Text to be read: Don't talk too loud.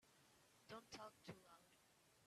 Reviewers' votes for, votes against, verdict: 0, 2, rejected